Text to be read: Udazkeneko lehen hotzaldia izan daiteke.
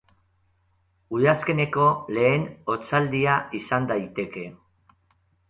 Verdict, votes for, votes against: accepted, 2, 0